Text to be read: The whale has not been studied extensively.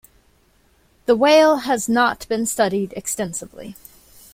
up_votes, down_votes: 2, 0